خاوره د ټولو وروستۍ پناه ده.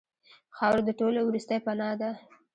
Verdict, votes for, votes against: rejected, 0, 2